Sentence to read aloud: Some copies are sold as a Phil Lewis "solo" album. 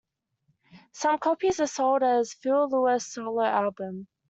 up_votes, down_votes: 2, 1